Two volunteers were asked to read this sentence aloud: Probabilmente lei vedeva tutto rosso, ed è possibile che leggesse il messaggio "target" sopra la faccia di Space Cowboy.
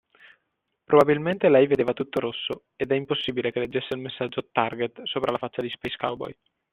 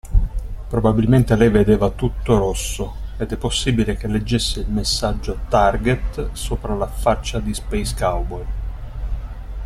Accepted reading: second